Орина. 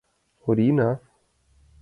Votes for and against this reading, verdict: 2, 0, accepted